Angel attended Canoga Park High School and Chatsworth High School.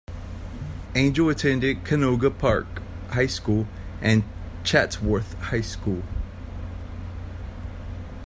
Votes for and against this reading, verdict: 2, 0, accepted